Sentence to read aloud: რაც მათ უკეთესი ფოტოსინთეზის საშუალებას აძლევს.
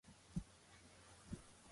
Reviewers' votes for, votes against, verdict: 1, 2, rejected